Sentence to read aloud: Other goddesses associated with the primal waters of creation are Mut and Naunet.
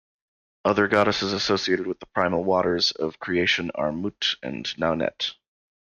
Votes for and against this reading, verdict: 2, 0, accepted